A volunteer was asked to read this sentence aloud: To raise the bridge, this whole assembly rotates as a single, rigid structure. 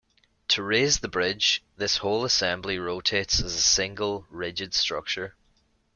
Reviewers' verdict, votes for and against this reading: accepted, 2, 0